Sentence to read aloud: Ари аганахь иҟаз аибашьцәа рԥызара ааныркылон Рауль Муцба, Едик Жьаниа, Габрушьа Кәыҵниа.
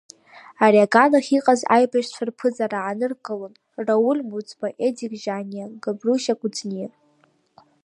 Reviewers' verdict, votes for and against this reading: rejected, 0, 2